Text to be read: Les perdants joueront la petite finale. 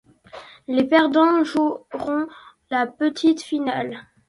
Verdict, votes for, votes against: accepted, 2, 0